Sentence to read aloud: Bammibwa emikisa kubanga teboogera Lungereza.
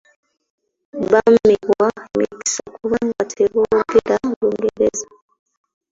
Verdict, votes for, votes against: rejected, 0, 2